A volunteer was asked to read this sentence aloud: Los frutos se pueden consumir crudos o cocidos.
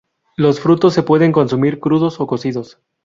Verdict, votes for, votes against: accepted, 2, 0